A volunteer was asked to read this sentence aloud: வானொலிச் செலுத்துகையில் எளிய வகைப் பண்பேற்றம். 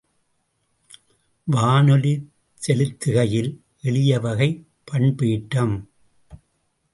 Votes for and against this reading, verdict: 2, 0, accepted